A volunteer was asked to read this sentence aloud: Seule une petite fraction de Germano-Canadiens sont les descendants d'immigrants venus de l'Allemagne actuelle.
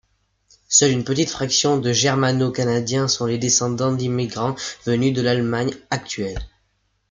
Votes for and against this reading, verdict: 2, 0, accepted